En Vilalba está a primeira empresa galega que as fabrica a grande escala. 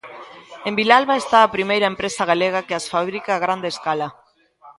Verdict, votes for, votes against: accepted, 2, 0